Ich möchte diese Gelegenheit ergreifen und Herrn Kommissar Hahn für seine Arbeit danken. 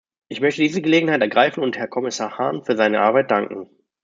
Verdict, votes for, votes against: rejected, 1, 2